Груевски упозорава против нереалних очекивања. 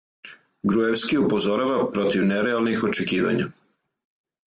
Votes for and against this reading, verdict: 4, 0, accepted